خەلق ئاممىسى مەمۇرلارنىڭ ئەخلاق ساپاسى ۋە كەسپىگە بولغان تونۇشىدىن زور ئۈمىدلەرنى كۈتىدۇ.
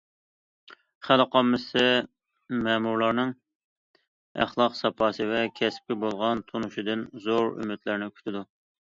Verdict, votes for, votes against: accepted, 2, 0